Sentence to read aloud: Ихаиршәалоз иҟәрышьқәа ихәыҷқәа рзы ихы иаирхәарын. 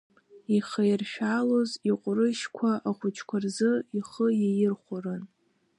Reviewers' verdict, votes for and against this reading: rejected, 0, 2